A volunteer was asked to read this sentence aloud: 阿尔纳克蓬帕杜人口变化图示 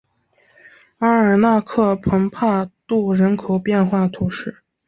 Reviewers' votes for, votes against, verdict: 4, 0, accepted